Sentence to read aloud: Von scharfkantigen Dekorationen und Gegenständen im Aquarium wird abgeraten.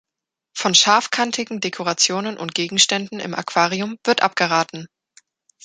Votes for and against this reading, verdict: 2, 0, accepted